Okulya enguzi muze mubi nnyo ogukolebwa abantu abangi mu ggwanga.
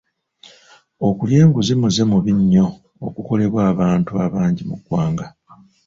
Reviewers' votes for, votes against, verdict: 2, 0, accepted